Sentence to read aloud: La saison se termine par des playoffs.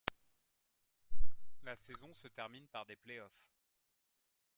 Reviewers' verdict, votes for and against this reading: accepted, 2, 0